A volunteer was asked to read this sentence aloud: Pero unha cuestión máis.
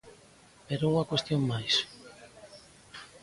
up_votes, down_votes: 2, 0